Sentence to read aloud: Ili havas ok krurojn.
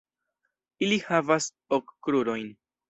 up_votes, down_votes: 2, 0